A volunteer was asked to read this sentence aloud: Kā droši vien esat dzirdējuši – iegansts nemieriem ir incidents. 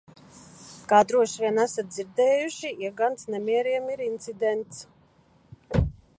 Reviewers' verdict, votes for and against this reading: rejected, 1, 2